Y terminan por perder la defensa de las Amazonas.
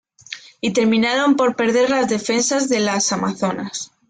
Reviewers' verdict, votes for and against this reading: accepted, 3, 1